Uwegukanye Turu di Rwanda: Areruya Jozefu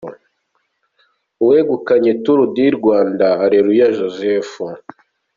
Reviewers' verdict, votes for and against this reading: accepted, 2, 0